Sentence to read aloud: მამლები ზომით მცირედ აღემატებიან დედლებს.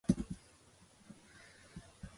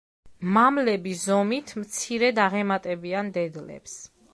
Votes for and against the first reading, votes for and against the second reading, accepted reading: 0, 2, 2, 0, second